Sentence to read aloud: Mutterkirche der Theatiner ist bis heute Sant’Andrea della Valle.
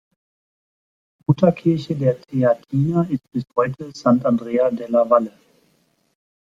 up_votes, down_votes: 1, 2